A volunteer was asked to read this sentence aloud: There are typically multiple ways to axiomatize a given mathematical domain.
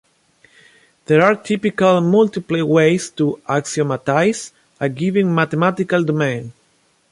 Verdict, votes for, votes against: rejected, 1, 2